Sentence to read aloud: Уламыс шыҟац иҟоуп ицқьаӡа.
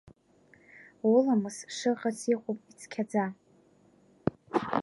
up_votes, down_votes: 1, 2